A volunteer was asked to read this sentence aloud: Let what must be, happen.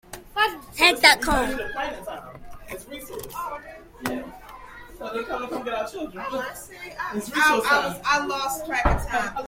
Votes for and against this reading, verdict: 0, 2, rejected